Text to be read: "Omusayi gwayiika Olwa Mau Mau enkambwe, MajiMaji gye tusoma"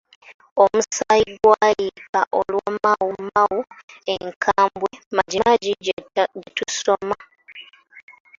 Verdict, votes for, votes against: accepted, 2, 1